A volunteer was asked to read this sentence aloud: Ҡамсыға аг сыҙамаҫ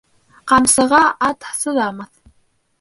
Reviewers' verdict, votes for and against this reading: rejected, 1, 2